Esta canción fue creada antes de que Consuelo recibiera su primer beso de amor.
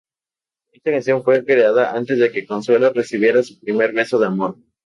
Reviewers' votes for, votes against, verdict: 2, 0, accepted